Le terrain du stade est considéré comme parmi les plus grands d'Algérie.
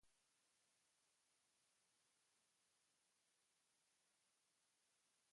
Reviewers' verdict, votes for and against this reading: rejected, 0, 2